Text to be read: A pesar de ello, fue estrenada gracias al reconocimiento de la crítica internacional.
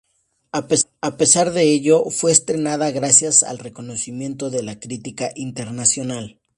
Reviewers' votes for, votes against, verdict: 0, 2, rejected